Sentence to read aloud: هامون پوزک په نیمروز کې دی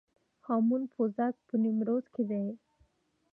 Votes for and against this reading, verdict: 3, 2, accepted